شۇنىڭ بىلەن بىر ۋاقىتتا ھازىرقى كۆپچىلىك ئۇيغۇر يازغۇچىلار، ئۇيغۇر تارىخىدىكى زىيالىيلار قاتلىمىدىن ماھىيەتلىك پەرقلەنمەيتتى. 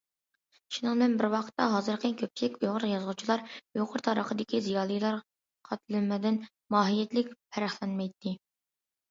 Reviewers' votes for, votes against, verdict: 1, 2, rejected